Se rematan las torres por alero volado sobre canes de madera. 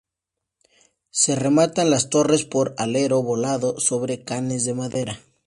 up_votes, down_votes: 2, 0